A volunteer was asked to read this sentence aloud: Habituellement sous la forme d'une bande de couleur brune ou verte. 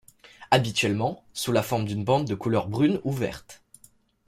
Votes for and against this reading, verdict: 2, 0, accepted